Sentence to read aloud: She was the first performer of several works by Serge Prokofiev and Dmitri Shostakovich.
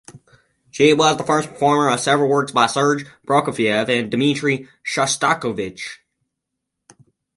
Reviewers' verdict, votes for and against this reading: rejected, 2, 2